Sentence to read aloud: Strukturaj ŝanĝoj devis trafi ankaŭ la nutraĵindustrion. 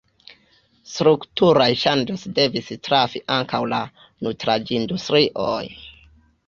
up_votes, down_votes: 2, 1